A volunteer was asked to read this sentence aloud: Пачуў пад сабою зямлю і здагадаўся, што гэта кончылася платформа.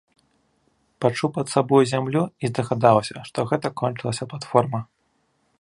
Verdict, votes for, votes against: accepted, 2, 0